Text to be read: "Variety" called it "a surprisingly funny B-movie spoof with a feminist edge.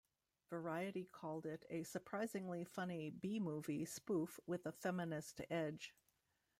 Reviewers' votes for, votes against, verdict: 2, 0, accepted